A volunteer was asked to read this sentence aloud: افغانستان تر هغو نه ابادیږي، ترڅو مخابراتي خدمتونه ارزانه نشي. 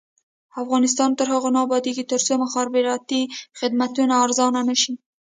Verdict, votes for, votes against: accepted, 2, 0